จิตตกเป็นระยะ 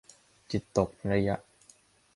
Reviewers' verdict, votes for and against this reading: rejected, 1, 2